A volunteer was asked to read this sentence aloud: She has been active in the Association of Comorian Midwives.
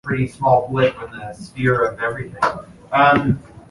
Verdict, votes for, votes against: rejected, 0, 2